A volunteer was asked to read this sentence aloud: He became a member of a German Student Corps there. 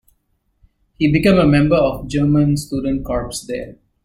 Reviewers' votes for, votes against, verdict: 0, 2, rejected